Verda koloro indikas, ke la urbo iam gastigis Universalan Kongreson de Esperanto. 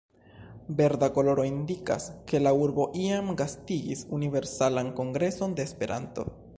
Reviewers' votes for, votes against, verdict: 2, 0, accepted